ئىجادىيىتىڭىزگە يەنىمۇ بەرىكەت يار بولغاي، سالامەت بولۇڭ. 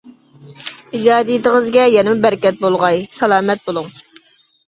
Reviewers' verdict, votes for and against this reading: rejected, 0, 2